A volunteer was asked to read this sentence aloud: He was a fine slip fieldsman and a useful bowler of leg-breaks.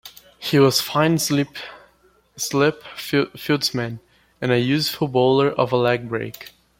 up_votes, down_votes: 2, 1